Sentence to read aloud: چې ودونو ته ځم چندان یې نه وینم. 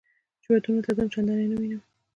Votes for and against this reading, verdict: 2, 1, accepted